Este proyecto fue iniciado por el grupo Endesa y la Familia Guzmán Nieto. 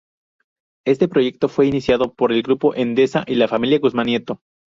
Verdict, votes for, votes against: accepted, 2, 0